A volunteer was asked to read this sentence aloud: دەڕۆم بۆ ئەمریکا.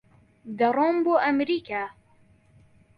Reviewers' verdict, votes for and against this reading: accepted, 2, 0